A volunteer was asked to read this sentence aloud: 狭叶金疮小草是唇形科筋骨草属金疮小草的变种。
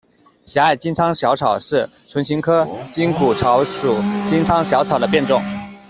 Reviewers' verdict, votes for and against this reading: rejected, 1, 2